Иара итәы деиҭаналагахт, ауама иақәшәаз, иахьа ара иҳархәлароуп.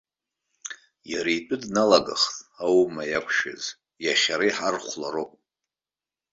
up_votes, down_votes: 0, 2